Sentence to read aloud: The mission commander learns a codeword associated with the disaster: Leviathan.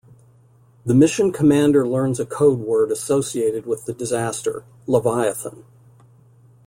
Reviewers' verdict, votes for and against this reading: accepted, 2, 0